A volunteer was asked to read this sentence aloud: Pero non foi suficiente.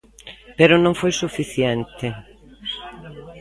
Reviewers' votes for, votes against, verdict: 2, 0, accepted